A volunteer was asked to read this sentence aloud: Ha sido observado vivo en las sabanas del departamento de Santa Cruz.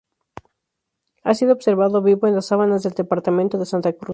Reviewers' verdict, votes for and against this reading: accepted, 2, 0